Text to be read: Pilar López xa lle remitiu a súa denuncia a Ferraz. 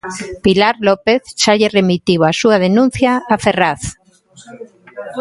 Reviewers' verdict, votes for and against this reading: accepted, 2, 0